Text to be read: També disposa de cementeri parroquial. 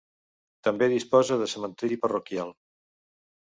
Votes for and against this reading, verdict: 2, 0, accepted